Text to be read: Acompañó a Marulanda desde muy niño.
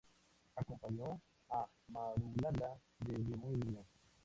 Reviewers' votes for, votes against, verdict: 2, 4, rejected